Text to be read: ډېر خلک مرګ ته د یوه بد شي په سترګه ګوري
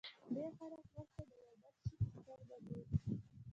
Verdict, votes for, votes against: rejected, 1, 2